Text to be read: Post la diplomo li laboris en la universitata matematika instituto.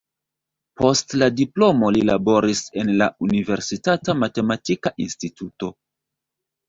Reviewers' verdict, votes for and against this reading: rejected, 1, 2